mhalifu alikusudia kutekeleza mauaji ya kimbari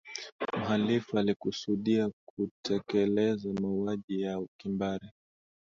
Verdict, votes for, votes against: accepted, 4, 3